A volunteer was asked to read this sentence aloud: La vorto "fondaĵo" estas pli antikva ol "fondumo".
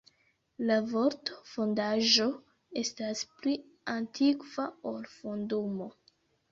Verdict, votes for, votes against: accepted, 2, 1